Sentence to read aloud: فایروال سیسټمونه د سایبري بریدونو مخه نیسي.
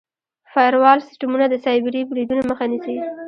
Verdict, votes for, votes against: rejected, 1, 2